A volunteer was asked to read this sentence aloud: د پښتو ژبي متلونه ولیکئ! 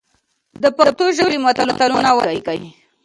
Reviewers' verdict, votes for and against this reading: rejected, 0, 2